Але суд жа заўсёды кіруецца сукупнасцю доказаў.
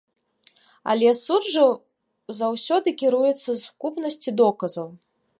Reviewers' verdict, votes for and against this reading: accepted, 2, 1